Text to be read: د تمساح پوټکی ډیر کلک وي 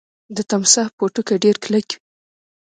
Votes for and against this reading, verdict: 2, 0, accepted